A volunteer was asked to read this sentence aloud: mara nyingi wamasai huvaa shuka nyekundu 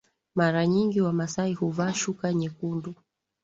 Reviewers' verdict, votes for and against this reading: accepted, 2, 0